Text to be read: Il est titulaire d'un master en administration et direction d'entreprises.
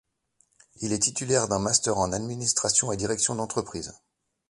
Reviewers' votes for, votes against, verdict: 2, 0, accepted